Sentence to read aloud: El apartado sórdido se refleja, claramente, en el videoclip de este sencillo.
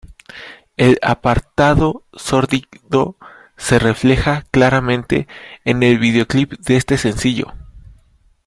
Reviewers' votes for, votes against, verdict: 0, 2, rejected